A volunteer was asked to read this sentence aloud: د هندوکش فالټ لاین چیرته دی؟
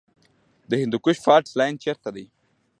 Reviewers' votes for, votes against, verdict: 2, 0, accepted